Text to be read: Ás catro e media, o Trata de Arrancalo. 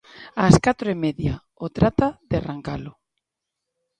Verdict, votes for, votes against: accepted, 3, 0